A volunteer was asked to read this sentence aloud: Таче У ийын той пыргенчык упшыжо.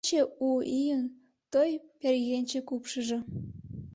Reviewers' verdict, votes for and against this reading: rejected, 1, 2